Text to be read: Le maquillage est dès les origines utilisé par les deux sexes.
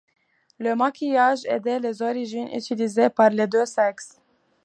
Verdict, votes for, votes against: accepted, 2, 0